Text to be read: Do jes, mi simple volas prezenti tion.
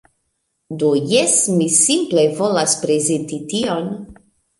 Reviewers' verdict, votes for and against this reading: rejected, 1, 2